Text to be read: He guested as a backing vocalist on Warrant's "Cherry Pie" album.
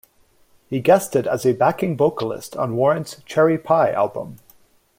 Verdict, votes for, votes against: accepted, 2, 0